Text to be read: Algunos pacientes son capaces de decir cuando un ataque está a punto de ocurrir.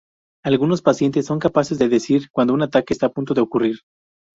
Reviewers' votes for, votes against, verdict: 4, 0, accepted